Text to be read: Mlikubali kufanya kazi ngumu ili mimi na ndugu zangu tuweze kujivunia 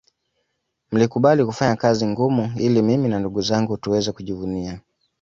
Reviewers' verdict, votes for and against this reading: accepted, 2, 0